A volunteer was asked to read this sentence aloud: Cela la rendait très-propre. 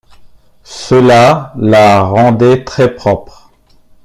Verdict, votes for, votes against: accepted, 2, 0